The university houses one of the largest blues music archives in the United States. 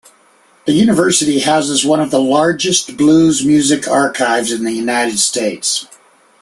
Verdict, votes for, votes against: accepted, 2, 0